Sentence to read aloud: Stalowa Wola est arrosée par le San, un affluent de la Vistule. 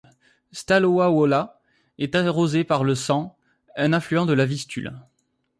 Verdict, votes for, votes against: rejected, 1, 2